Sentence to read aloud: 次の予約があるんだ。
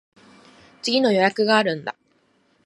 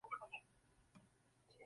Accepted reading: first